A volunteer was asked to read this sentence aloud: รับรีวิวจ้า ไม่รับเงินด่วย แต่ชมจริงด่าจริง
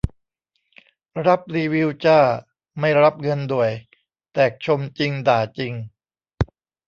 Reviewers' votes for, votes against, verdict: 2, 1, accepted